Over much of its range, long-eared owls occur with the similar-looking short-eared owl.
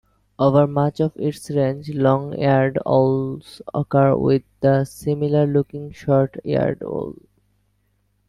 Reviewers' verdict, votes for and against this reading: rejected, 1, 2